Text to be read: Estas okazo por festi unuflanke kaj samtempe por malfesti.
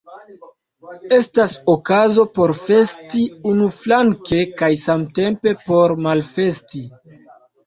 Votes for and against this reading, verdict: 2, 0, accepted